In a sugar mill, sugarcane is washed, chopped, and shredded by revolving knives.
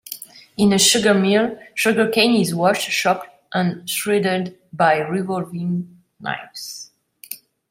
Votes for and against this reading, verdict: 0, 2, rejected